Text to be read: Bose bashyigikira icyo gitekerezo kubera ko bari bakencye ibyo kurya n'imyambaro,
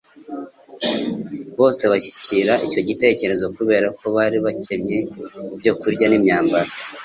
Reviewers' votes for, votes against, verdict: 2, 0, accepted